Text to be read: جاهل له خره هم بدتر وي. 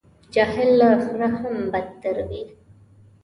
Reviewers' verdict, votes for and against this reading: accepted, 2, 0